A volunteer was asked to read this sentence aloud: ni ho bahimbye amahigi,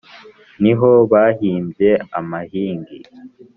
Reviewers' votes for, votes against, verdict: 2, 0, accepted